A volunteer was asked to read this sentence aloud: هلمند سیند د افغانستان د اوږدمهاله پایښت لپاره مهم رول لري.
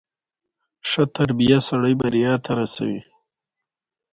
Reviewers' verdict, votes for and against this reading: accepted, 2, 0